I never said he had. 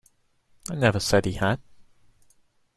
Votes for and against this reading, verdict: 2, 0, accepted